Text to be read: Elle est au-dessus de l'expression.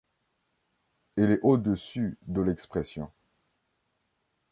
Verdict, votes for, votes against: rejected, 1, 2